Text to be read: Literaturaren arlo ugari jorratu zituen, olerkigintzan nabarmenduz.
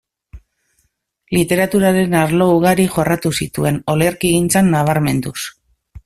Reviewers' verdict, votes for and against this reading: accepted, 2, 0